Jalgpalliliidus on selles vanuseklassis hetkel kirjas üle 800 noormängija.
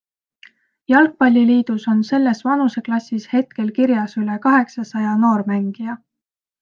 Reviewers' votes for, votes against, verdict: 0, 2, rejected